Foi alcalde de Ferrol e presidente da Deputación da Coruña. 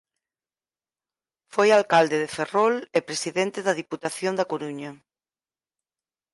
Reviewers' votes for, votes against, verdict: 4, 0, accepted